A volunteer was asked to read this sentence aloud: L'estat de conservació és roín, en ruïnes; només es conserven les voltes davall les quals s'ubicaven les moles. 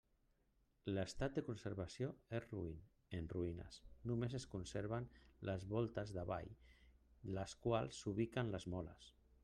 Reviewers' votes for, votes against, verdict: 0, 2, rejected